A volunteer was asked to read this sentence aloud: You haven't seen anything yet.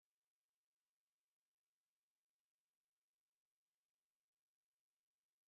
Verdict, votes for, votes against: rejected, 0, 3